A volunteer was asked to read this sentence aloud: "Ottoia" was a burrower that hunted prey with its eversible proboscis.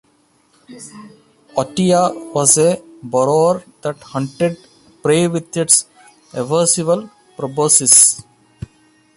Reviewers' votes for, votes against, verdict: 0, 2, rejected